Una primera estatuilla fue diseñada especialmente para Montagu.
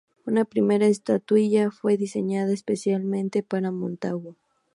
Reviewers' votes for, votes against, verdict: 2, 0, accepted